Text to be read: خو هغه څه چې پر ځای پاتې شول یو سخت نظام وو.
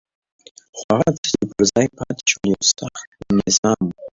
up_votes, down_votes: 1, 2